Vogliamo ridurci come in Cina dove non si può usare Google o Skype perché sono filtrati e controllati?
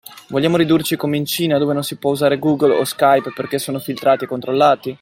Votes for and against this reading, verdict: 2, 0, accepted